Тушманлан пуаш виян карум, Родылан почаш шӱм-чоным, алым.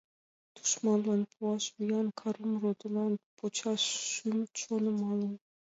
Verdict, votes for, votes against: rejected, 1, 2